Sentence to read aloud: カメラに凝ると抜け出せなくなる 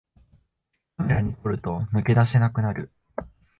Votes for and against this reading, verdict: 0, 2, rejected